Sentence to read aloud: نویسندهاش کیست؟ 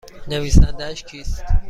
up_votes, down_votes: 2, 0